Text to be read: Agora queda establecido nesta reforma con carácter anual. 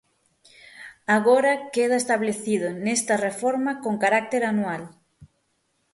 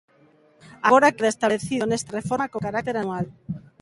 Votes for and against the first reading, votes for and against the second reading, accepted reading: 6, 0, 0, 2, first